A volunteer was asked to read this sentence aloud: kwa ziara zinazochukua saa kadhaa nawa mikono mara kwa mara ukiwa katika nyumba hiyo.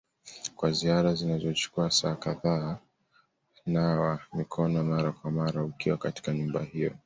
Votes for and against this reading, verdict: 2, 0, accepted